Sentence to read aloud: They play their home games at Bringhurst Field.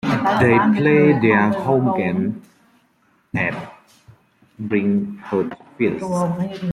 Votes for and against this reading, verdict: 0, 2, rejected